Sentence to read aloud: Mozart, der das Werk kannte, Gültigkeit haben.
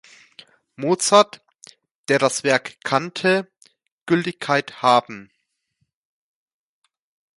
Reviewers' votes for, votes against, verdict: 2, 0, accepted